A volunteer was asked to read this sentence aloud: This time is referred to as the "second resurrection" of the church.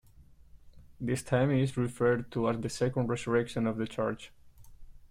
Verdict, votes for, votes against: accepted, 2, 0